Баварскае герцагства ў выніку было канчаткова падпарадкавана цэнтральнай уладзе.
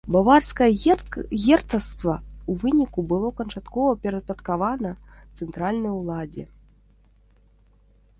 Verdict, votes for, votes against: rejected, 0, 2